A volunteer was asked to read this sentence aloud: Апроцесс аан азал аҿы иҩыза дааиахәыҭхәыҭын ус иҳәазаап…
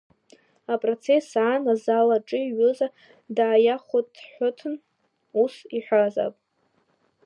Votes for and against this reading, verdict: 0, 2, rejected